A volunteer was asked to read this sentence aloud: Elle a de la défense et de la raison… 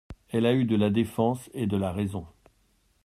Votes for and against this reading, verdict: 0, 2, rejected